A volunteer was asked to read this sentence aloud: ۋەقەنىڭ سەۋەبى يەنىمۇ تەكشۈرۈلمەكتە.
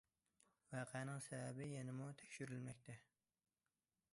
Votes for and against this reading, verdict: 2, 0, accepted